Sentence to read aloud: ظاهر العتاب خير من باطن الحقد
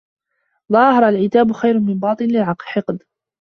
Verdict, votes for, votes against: rejected, 0, 2